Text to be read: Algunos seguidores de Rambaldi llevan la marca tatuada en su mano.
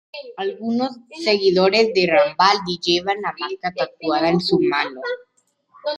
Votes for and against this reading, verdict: 2, 0, accepted